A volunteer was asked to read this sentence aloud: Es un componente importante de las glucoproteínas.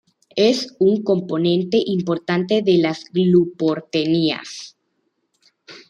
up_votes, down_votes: 1, 2